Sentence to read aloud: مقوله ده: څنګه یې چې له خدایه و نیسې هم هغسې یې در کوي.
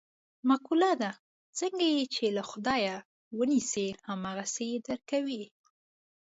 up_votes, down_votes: 2, 0